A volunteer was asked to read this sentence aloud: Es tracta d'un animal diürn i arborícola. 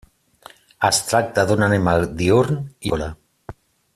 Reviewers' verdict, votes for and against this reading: rejected, 0, 2